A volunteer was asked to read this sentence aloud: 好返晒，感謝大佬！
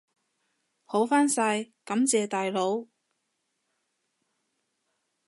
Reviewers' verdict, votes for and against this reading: accepted, 2, 0